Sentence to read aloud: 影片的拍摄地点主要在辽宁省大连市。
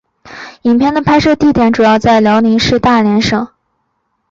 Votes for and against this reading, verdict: 1, 3, rejected